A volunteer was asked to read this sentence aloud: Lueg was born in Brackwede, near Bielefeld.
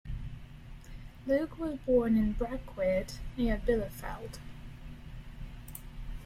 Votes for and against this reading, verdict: 1, 2, rejected